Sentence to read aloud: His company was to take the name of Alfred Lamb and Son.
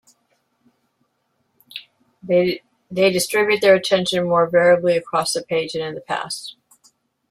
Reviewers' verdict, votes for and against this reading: rejected, 0, 2